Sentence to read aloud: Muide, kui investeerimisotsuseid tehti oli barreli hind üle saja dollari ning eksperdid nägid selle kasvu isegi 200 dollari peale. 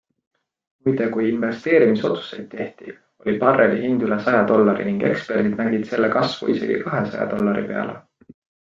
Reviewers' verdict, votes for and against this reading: rejected, 0, 2